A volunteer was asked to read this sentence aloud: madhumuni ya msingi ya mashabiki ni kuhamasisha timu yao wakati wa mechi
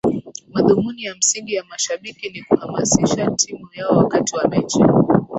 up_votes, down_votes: 2, 2